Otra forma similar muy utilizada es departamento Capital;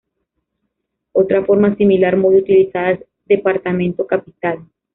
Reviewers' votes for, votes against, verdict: 2, 1, accepted